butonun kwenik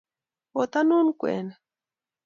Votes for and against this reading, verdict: 0, 2, rejected